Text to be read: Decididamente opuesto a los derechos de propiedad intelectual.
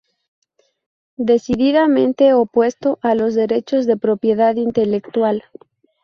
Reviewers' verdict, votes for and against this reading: rejected, 0, 2